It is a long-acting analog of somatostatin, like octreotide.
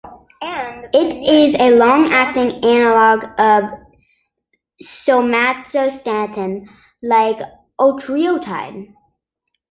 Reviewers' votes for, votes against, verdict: 1, 2, rejected